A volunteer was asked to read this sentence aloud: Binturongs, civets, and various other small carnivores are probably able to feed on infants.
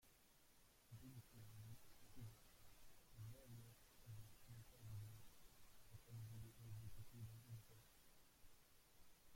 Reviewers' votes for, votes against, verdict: 0, 2, rejected